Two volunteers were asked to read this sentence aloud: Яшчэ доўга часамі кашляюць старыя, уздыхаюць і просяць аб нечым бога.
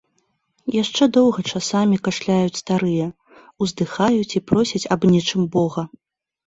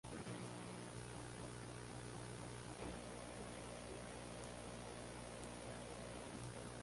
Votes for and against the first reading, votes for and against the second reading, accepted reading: 2, 0, 0, 2, first